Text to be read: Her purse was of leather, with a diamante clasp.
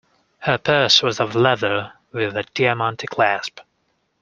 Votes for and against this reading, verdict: 2, 0, accepted